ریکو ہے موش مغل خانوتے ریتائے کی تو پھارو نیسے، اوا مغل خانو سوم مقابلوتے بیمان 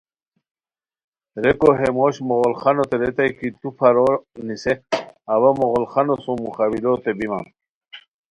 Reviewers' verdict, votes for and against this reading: accepted, 2, 0